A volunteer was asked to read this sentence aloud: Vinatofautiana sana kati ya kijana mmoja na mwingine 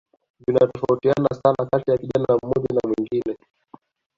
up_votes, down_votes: 0, 2